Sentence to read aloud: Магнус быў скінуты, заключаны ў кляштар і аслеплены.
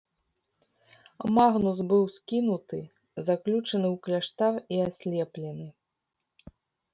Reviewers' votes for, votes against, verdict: 1, 2, rejected